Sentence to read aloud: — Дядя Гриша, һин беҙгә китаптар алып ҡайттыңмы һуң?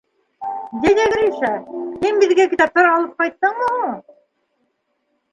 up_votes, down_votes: 2, 1